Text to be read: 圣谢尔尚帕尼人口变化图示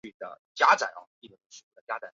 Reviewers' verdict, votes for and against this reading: rejected, 0, 2